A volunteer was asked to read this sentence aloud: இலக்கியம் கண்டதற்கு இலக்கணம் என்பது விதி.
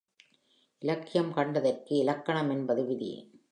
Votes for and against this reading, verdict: 3, 0, accepted